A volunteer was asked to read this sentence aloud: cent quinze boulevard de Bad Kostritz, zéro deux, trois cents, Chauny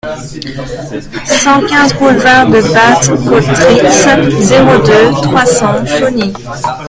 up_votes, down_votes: 2, 0